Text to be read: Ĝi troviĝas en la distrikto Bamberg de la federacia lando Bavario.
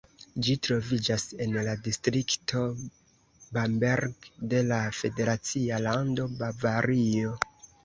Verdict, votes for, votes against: rejected, 0, 2